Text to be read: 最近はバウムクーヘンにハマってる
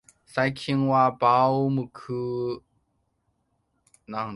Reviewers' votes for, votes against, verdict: 0, 2, rejected